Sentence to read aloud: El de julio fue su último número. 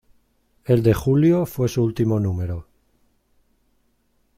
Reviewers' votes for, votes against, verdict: 2, 0, accepted